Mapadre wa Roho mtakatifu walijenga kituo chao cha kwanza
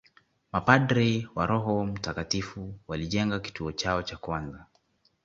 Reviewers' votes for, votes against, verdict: 2, 0, accepted